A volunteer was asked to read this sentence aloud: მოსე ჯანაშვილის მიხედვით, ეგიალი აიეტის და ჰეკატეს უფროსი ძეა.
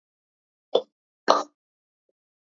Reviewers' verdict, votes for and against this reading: rejected, 0, 2